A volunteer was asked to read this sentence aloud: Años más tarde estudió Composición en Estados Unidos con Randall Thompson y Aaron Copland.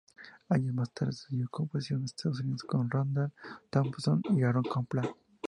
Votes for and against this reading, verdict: 2, 0, accepted